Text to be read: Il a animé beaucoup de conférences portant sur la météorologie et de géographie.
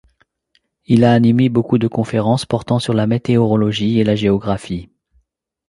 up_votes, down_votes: 1, 2